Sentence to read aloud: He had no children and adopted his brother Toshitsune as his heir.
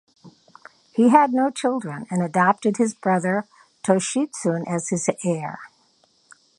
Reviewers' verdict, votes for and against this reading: accepted, 2, 0